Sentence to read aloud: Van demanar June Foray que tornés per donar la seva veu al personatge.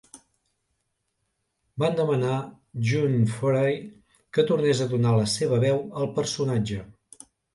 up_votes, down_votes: 0, 2